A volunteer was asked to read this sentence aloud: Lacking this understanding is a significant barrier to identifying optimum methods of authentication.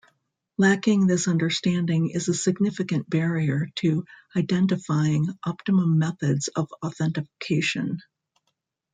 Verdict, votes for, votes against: rejected, 1, 2